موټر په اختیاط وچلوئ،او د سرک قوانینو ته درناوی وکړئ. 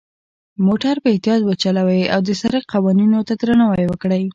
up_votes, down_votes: 2, 0